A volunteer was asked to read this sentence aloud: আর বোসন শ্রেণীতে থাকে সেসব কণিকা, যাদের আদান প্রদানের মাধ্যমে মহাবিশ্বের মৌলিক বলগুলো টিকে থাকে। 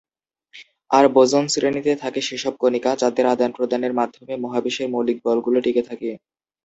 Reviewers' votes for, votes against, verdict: 5, 2, accepted